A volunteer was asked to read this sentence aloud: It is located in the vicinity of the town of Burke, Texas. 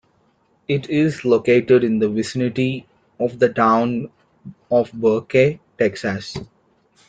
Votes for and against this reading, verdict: 2, 1, accepted